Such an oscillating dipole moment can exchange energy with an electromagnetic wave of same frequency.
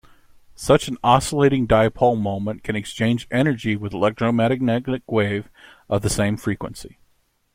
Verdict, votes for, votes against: rejected, 1, 2